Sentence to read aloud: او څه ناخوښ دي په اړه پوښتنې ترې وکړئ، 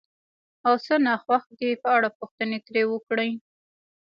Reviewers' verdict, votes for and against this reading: rejected, 1, 2